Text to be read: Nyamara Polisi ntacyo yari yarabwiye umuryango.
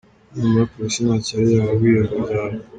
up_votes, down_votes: 0, 2